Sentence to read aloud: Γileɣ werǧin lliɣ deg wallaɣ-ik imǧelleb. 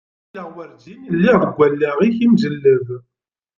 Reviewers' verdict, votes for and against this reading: rejected, 1, 2